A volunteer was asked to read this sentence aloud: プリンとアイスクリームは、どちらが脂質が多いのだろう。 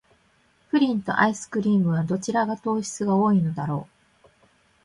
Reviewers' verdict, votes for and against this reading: rejected, 1, 2